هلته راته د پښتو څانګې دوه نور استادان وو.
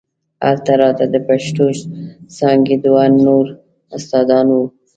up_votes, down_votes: 2, 0